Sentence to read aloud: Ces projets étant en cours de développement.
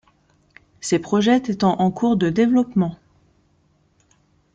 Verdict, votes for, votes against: rejected, 1, 3